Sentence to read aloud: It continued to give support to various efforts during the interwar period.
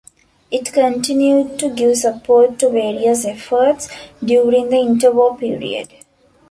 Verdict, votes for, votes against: accepted, 2, 0